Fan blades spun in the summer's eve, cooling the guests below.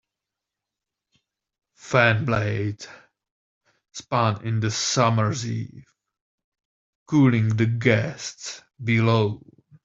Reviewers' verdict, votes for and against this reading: rejected, 1, 2